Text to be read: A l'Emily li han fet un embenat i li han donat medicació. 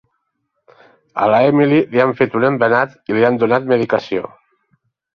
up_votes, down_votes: 2, 0